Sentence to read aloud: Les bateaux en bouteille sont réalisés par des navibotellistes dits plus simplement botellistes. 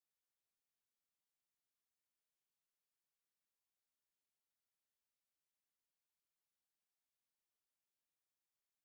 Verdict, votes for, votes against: rejected, 0, 2